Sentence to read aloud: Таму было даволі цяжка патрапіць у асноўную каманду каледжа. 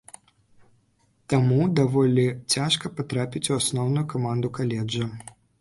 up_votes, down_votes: 0, 2